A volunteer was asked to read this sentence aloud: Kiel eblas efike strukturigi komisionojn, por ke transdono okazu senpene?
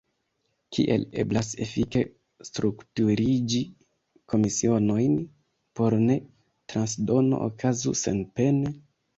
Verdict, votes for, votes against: rejected, 0, 2